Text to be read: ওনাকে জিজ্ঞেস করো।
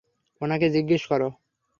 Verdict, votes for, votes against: accepted, 3, 0